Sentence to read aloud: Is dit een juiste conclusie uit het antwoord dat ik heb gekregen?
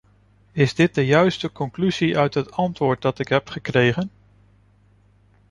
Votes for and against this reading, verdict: 1, 2, rejected